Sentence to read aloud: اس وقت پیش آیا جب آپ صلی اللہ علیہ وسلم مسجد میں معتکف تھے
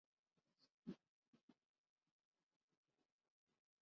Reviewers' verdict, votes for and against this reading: rejected, 1, 2